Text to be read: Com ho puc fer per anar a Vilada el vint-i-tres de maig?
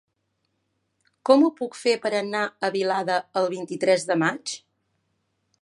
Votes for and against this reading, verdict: 3, 0, accepted